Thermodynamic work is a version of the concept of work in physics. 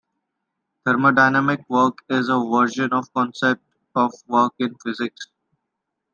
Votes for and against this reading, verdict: 2, 0, accepted